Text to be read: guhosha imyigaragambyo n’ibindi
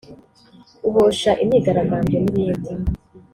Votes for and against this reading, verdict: 1, 2, rejected